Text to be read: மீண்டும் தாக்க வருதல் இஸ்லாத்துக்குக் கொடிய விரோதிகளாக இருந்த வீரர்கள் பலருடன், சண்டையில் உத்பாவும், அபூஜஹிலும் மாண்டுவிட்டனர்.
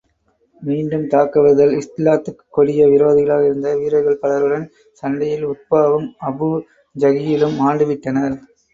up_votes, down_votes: 0, 2